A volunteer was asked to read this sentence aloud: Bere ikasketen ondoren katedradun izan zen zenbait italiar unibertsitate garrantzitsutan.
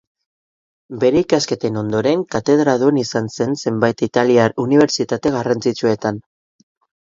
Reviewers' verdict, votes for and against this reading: rejected, 0, 2